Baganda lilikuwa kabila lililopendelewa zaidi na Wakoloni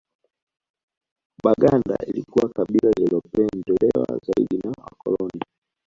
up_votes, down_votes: 2, 1